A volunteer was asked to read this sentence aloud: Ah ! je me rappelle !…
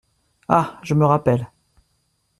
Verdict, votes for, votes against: accepted, 2, 0